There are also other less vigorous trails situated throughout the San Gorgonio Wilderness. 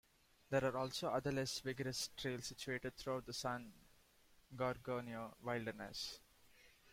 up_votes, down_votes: 1, 2